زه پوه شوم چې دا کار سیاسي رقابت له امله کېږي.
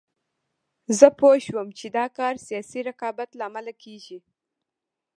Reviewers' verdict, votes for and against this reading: rejected, 1, 2